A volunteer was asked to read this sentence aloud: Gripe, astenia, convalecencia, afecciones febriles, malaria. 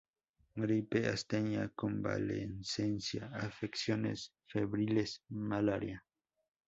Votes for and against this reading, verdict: 0, 2, rejected